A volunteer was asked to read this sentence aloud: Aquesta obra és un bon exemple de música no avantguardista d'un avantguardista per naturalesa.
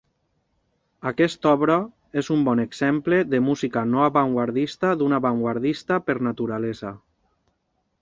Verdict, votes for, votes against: accepted, 2, 0